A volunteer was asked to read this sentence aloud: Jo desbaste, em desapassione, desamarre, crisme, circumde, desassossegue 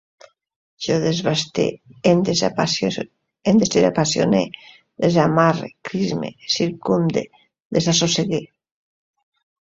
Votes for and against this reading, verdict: 0, 2, rejected